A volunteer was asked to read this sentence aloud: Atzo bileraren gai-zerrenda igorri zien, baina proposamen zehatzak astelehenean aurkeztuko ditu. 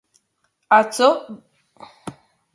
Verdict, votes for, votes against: rejected, 0, 2